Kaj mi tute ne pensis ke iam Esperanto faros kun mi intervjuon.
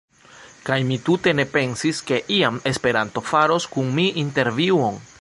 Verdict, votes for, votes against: rejected, 0, 2